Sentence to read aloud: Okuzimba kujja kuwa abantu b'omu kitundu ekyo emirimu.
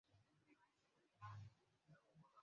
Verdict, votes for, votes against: rejected, 0, 2